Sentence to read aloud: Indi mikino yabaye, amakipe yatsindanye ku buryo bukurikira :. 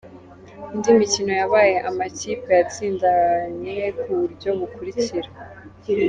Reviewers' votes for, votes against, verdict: 2, 1, accepted